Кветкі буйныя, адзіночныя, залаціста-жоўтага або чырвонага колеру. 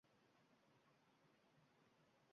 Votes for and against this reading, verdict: 1, 2, rejected